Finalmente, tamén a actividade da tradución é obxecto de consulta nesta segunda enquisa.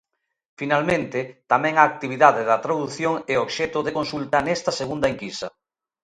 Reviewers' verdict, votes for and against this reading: accepted, 2, 0